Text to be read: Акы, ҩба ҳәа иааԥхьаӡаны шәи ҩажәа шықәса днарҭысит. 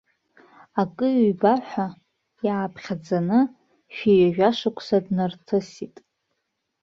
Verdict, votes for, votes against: accepted, 2, 0